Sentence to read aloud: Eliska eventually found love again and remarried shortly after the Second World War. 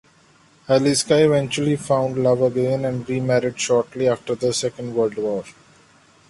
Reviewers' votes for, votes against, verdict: 2, 0, accepted